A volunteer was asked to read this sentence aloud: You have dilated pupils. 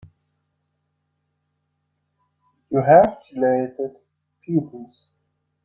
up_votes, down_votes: 0, 2